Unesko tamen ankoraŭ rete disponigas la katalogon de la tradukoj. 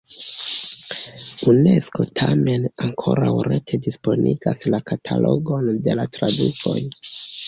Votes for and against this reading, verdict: 2, 0, accepted